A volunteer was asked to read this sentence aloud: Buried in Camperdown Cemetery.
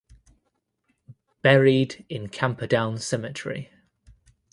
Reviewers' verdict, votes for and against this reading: accepted, 2, 0